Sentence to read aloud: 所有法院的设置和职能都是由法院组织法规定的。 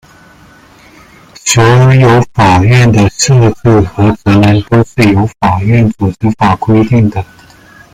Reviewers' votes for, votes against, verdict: 0, 2, rejected